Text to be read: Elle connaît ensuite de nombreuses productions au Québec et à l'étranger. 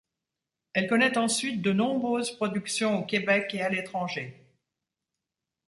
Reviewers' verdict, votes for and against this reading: accepted, 2, 0